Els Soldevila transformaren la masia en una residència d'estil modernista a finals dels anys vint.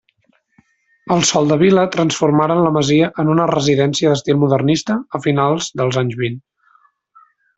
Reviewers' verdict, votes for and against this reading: accepted, 3, 0